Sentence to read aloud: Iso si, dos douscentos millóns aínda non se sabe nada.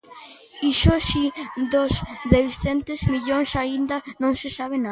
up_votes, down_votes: 1, 3